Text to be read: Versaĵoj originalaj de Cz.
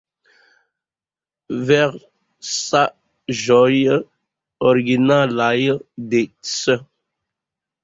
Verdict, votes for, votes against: rejected, 1, 2